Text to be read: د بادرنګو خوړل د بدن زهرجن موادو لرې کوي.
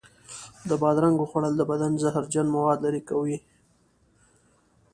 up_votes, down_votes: 2, 0